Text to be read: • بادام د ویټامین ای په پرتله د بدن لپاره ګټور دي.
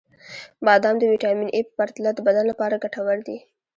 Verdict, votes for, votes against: rejected, 1, 2